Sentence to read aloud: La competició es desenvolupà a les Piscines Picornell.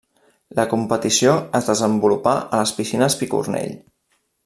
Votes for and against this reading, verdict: 3, 0, accepted